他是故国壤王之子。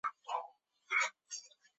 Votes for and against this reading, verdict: 0, 6, rejected